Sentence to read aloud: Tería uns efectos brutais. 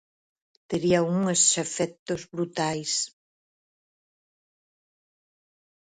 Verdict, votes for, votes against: rejected, 2, 4